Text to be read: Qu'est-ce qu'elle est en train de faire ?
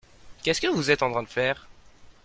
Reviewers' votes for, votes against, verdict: 1, 2, rejected